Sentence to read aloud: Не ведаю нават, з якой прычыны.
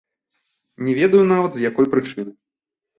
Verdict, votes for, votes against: accepted, 2, 0